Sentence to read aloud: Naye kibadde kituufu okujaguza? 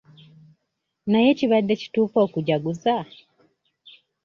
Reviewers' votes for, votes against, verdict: 2, 0, accepted